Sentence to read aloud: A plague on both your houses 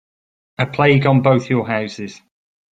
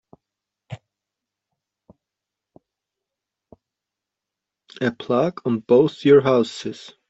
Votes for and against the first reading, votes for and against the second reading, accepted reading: 2, 0, 0, 2, first